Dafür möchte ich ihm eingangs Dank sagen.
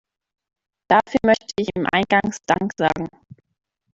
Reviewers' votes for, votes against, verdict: 1, 2, rejected